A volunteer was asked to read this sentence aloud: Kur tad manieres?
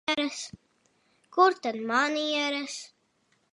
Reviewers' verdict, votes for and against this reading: rejected, 0, 2